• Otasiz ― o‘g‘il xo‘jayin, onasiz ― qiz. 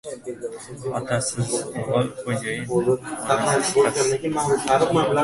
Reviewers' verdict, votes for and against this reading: rejected, 0, 2